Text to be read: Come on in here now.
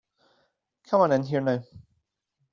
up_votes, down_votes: 2, 0